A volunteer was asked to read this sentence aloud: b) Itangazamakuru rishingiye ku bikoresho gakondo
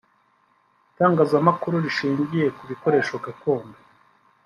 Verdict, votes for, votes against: accepted, 3, 0